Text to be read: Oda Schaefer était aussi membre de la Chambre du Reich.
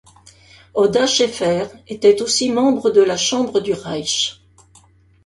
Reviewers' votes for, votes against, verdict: 2, 0, accepted